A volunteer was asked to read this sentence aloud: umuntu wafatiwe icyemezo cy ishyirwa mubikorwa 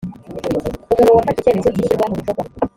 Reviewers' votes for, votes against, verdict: 0, 2, rejected